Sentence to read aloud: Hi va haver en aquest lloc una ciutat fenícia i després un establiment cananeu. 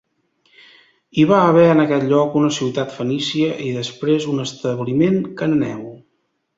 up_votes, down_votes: 0, 2